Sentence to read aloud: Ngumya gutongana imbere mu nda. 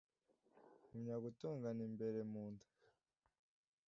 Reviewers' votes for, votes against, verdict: 2, 0, accepted